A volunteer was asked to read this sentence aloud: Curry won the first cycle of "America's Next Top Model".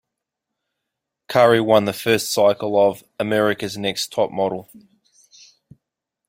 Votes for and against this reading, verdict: 2, 0, accepted